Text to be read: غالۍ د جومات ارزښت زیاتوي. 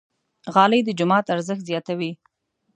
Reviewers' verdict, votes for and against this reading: accepted, 2, 0